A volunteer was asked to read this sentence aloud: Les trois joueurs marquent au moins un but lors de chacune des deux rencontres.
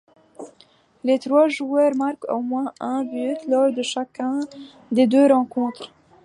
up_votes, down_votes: 1, 2